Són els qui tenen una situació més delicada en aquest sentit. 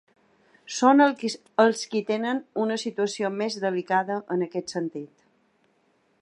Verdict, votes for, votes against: rejected, 0, 2